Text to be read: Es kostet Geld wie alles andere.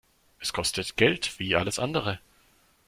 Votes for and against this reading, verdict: 2, 0, accepted